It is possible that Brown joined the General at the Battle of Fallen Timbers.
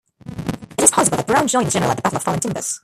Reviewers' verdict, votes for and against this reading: rejected, 0, 2